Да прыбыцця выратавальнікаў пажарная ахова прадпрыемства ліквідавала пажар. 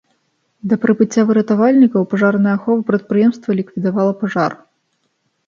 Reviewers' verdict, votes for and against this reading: accepted, 2, 0